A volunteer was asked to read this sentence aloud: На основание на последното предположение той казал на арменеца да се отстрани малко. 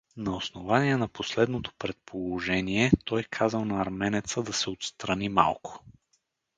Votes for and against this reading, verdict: 4, 0, accepted